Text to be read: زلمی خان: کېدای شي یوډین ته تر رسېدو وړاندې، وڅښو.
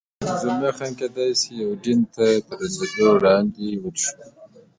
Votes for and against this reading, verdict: 2, 3, rejected